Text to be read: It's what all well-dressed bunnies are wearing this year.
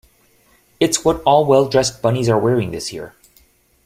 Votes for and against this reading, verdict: 2, 0, accepted